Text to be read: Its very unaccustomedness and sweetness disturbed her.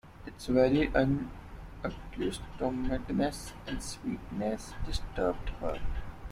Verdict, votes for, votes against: rejected, 0, 2